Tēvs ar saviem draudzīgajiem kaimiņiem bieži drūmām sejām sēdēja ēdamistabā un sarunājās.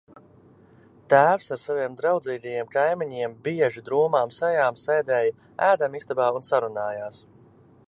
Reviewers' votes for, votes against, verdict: 2, 0, accepted